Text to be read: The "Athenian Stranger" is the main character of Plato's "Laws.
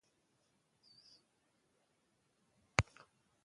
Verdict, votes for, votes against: rejected, 0, 2